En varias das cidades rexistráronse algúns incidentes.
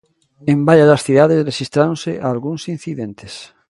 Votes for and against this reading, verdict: 1, 2, rejected